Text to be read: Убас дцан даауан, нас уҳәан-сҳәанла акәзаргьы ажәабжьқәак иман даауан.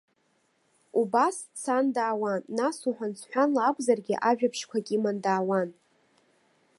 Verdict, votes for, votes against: accepted, 2, 1